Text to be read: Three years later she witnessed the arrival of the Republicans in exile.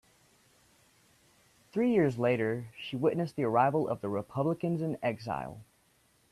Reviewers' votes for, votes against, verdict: 2, 0, accepted